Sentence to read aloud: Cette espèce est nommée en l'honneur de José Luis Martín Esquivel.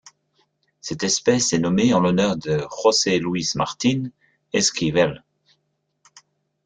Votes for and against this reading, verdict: 2, 0, accepted